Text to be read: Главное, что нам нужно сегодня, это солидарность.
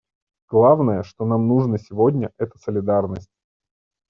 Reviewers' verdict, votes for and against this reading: accepted, 2, 0